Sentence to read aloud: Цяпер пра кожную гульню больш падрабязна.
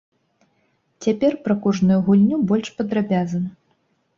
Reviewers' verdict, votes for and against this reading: accepted, 3, 0